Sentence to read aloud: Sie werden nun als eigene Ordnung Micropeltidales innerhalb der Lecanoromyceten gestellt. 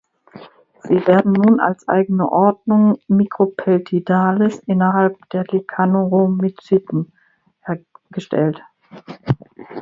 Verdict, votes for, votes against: rejected, 0, 2